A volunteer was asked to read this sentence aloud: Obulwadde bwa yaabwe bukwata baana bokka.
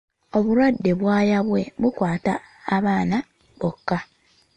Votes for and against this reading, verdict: 1, 2, rejected